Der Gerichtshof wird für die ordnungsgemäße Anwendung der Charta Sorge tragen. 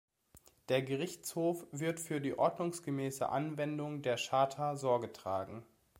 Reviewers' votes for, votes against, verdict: 2, 1, accepted